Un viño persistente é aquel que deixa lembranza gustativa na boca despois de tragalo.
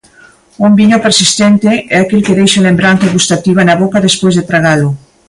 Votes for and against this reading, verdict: 2, 0, accepted